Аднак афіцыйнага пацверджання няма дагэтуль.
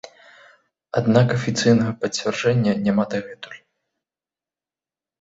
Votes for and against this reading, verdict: 0, 2, rejected